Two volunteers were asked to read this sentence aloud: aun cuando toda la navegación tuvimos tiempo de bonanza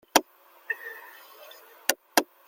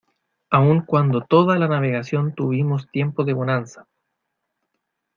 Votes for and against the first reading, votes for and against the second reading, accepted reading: 0, 2, 2, 0, second